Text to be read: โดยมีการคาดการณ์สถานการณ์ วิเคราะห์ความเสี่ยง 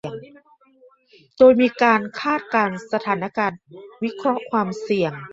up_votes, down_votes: 0, 2